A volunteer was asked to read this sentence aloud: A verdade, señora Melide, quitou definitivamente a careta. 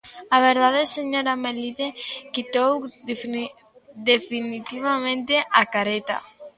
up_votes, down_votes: 0, 2